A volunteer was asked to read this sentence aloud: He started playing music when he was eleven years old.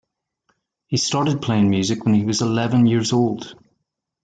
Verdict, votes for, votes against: rejected, 1, 2